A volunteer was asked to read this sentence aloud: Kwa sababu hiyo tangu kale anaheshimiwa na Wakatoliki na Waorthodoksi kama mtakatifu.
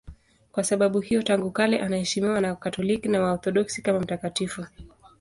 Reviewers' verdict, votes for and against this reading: accepted, 2, 0